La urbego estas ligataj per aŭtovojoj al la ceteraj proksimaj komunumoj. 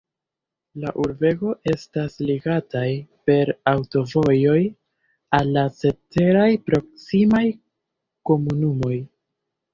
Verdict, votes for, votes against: rejected, 0, 2